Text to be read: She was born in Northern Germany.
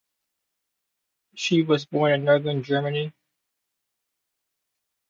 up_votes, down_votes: 2, 0